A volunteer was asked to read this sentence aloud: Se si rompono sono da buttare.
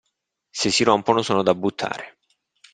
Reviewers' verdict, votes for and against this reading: accepted, 2, 0